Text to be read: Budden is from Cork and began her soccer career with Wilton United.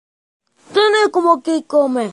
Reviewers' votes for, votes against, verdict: 0, 2, rejected